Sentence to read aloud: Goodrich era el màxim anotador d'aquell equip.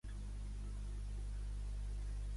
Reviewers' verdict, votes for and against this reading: rejected, 0, 2